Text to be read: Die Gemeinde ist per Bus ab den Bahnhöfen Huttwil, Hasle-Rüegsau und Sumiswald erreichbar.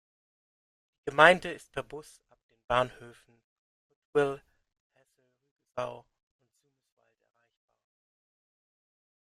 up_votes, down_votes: 0, 2